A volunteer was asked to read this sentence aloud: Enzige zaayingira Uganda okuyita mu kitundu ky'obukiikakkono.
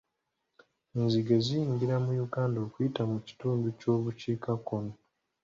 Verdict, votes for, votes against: rejected, 1, 2